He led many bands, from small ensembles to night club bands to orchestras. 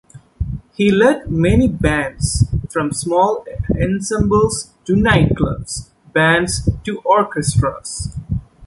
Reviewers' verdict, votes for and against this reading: rejected, 1, 2